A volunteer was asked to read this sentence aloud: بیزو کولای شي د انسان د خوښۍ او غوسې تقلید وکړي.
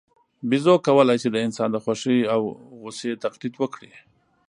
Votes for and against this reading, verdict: 2, 0, accepted